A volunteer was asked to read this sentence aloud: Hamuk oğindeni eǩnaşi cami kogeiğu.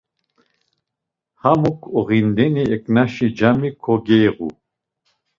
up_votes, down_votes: 2, 0